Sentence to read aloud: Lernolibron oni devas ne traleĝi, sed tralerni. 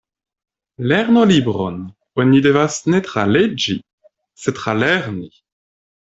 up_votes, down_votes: 2, 0